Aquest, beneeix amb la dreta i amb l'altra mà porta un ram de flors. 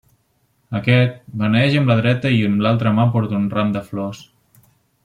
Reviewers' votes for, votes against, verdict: 3, 1, accepted